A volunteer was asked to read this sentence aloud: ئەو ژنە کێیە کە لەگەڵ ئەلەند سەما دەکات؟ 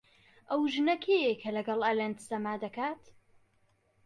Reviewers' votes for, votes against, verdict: 2, 0, accepted